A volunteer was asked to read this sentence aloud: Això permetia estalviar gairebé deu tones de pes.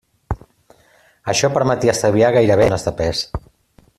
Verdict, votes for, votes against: rejected, 0, 2